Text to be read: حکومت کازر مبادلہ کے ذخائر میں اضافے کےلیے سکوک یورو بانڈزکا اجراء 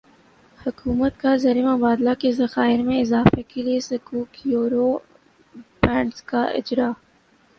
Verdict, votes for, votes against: accepted, 3, 0